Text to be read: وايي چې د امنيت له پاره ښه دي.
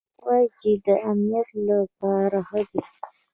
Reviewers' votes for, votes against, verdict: 2, 0, accepted